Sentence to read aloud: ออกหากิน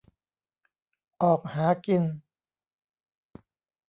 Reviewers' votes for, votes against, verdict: 2, 0, accepted